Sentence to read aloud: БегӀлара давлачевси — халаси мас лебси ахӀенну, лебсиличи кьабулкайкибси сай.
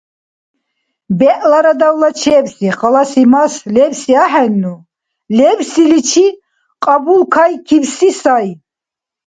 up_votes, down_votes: 2, 0